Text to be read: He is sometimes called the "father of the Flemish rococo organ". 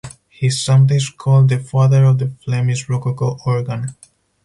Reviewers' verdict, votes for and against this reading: rejected, 2, 4